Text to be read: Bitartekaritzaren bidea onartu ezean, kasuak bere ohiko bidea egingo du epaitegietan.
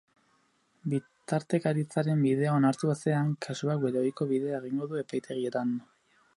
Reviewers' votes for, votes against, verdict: 0, 6, rejected